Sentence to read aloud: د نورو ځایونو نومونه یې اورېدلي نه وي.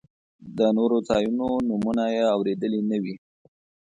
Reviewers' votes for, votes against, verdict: 2, 0, accepted